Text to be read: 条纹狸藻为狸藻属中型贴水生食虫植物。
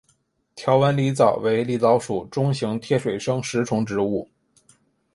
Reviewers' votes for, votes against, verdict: 2, 0, accepted